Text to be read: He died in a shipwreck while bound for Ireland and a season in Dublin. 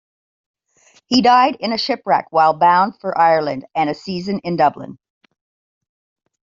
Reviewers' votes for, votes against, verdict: 2, 0, accepted